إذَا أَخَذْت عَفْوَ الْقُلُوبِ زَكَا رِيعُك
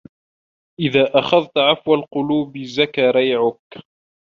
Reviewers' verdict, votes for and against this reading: accepted, 2, 0